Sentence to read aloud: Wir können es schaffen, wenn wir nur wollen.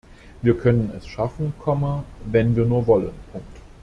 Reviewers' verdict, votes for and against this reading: rejected, 0, 2